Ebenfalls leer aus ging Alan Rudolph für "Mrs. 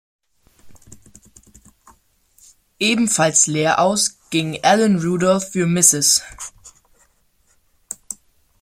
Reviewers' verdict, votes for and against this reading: accepted, 2, 0